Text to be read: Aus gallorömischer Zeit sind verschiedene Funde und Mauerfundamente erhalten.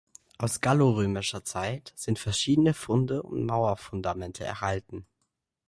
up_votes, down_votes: 2, 0